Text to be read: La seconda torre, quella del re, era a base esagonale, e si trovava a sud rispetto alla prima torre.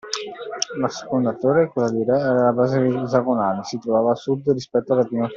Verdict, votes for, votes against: rejected, 0, 2